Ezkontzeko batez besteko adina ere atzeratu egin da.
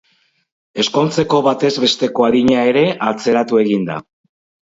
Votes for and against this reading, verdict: 2, 0, accepted